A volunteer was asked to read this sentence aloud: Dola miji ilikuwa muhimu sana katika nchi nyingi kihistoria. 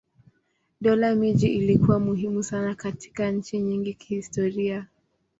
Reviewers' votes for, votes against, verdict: 2, 0, accepted